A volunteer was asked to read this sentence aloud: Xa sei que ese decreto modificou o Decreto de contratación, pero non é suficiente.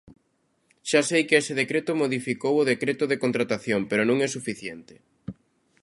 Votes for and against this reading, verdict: 2, 0, accepted